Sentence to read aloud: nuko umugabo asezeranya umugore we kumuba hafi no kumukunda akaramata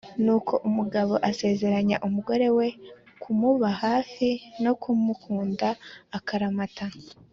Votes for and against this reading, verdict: 2, 0, accepted